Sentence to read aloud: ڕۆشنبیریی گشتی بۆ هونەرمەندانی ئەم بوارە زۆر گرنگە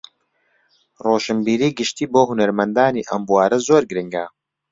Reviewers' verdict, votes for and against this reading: accepted, 2, 0